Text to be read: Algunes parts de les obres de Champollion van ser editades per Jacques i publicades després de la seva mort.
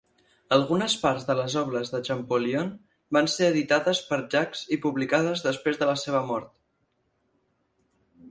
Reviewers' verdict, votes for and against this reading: accepted, 4, 0